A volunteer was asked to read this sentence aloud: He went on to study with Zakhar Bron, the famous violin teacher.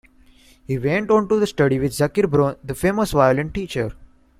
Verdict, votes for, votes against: rejected, 1, 2